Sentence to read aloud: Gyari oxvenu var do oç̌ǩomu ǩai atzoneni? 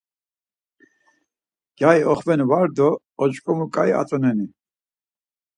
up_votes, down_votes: 4, 2